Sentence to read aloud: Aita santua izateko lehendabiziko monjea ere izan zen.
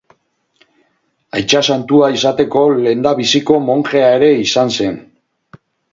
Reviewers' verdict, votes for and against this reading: rejected, 0, 2